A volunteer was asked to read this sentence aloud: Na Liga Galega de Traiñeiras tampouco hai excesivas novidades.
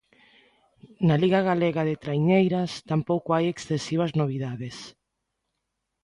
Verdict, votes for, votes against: accepted, 2, 0